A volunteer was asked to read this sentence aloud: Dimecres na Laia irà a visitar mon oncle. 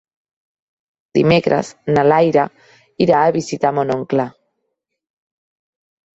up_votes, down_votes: 1, 2